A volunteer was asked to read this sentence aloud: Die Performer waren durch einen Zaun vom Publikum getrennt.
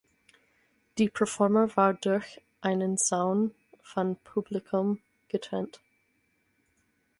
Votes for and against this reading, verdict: 0, 4, rejected